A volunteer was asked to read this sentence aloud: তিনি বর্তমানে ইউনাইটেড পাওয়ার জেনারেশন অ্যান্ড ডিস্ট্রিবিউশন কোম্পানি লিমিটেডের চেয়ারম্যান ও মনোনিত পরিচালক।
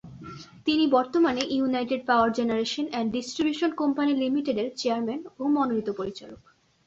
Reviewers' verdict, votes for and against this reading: accepted, 2, 0